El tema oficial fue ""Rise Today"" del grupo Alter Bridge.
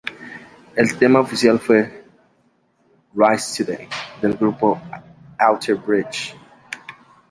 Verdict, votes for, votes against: rejected, 0, 2